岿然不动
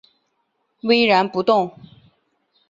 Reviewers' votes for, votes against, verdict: 1, 4, rejected